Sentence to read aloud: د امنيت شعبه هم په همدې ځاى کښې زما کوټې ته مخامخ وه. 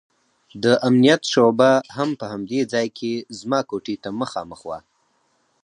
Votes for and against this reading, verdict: 0, 4, rejected